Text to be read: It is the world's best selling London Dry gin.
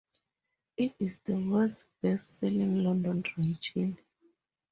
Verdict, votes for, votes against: accepted, 4, 0